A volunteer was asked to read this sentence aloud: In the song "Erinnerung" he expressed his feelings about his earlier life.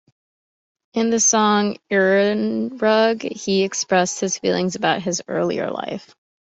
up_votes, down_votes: 1, 2